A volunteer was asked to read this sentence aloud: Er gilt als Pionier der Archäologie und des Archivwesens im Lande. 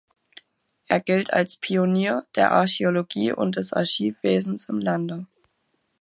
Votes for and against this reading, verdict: 2, 0, accepted